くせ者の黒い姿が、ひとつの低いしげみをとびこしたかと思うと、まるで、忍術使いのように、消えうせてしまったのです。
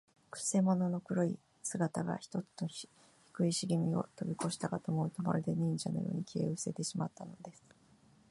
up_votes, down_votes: 0, 2